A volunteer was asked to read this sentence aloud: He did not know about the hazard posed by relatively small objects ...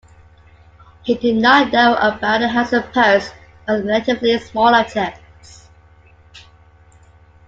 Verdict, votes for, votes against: rejected, 1, 2